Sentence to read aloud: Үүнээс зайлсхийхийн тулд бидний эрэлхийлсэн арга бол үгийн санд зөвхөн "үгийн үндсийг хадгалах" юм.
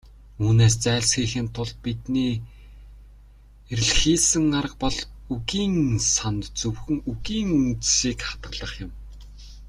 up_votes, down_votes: 0, 2